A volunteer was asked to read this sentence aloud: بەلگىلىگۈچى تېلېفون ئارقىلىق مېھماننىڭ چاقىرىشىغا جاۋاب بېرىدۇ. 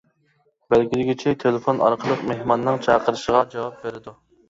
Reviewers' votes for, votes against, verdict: 2, 0, accepted